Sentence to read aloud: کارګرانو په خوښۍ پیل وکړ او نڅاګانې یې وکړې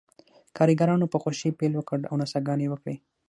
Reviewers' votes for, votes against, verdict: 6, 0, accepted